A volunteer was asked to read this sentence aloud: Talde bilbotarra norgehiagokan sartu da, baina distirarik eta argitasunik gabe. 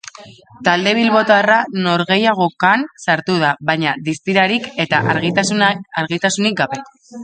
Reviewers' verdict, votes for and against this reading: rejected, 1, 2